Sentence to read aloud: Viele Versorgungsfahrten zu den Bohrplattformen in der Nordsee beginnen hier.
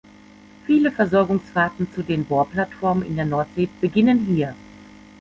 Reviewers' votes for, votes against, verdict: 1, 2, rejected